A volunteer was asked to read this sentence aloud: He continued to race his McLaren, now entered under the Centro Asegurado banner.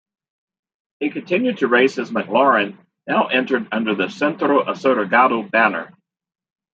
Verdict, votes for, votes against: accepted, 2, 1